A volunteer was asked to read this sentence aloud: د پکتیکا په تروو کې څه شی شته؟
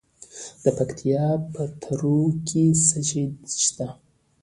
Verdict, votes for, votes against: rejected, 1, 2